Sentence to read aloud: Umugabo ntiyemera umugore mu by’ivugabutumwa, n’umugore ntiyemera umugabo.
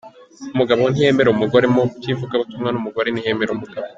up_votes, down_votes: 2, 0